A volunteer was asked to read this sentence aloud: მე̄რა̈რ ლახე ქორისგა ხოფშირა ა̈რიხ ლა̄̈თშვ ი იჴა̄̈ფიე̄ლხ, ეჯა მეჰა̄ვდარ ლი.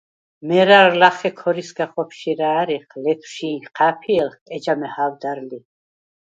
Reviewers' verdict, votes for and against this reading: rejected, 2, 4